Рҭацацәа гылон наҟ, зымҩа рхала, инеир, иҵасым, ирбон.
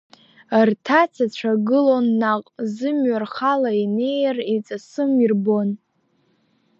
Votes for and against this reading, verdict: 1, 2, rejected